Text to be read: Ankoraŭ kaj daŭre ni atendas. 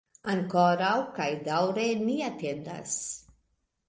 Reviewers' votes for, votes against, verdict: 4, 0, accepted